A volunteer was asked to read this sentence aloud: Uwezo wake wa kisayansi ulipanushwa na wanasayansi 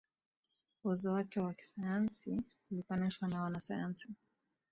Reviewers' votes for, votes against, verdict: 8, 4, accepted